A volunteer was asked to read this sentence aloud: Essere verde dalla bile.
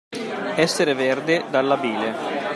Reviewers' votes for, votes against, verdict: 1, 2, rejected